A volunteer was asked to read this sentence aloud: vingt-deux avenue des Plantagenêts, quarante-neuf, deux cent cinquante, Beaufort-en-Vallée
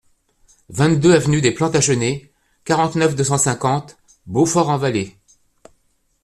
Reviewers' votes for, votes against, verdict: 2, 0, accepted